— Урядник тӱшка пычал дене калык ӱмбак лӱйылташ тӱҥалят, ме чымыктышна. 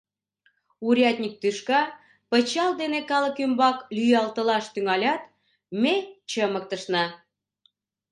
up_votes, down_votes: 1, 2